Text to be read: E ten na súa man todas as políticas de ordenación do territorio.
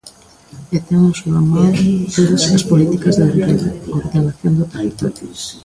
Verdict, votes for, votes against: rejected, 0, 2